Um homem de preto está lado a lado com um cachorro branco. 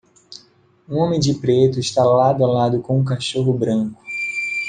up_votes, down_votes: 2, 0